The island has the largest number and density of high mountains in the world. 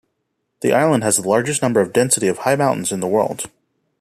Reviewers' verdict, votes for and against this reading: rejected, 1, 2